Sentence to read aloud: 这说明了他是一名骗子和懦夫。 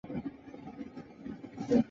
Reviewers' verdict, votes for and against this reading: rejected, 0, 2